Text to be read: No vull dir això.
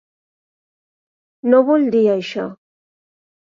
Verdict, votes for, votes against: accepted, 5, 0